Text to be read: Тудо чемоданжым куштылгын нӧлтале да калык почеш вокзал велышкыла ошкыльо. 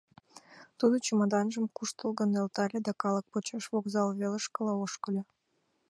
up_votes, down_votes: 2, 0